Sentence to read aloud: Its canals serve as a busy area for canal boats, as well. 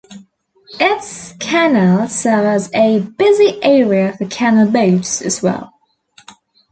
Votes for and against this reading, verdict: 0, 2, rejected